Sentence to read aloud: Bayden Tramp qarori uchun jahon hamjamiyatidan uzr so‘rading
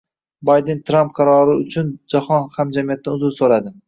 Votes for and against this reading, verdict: 1, 2, rejected